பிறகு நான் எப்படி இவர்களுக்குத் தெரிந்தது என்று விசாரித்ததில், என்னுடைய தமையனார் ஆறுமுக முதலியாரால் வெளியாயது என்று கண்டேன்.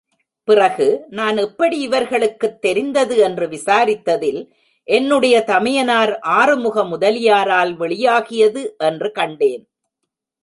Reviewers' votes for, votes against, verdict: 0, 2, rejected